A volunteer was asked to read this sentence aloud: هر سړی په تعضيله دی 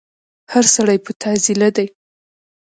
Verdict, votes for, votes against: accepted, 2, 1